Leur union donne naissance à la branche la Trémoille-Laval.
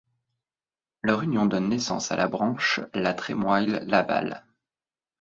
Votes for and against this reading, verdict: 2, 0, accepted